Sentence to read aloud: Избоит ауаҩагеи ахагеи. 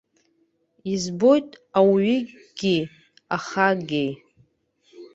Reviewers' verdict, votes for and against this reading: rejected, 1, 2